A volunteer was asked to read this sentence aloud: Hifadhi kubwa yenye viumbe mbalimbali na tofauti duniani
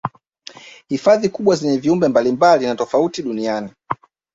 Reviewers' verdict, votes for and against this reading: rejected, 0, 2